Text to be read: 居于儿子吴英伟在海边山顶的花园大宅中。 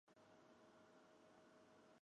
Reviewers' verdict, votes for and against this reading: rejected, 0, 3